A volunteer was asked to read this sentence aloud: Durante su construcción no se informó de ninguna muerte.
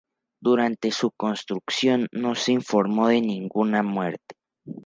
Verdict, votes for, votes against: accepted, 2, 0